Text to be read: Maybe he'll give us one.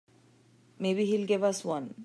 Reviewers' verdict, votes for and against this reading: accepted, 3, 0